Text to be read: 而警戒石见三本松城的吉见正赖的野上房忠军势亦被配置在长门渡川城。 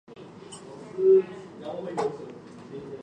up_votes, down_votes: 2, 3